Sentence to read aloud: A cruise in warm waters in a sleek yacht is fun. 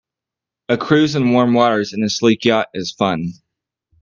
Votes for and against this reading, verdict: 1, 2, rejected